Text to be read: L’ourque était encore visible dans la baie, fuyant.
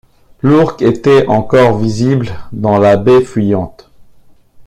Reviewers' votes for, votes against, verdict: 0, 2, rejected